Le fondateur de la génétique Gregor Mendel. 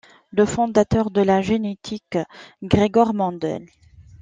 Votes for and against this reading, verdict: 2, 0, accepted